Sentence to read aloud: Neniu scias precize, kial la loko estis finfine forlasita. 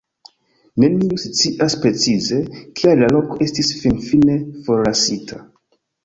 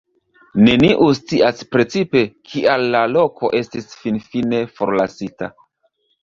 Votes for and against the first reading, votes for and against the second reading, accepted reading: 2, 1, 1, 2, first